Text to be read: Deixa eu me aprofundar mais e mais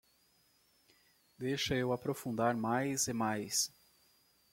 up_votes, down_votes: 0, 2